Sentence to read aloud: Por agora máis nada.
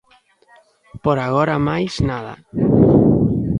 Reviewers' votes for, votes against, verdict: 2, 0, accepted